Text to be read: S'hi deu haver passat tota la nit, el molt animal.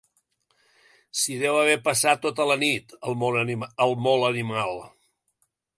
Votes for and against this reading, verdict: 0, 2, rejected